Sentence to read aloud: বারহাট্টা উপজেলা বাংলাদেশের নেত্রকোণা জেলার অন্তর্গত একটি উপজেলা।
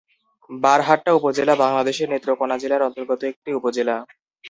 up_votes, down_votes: 0, 2